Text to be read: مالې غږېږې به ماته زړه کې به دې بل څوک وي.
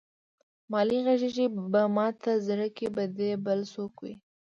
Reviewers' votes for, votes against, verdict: 0, 2, rejected